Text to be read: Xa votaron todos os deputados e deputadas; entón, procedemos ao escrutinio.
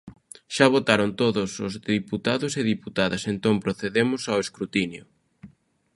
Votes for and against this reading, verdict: 0, 2, rejected